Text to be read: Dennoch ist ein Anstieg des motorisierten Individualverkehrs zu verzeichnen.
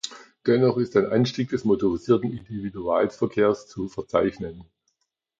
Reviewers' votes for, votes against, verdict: 2, 0, accepted